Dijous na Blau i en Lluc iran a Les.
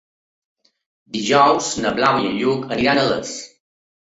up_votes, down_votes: 3, 0